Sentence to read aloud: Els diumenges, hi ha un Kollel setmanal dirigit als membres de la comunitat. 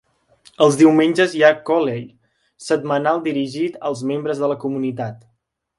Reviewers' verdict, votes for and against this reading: rejected, 1, 2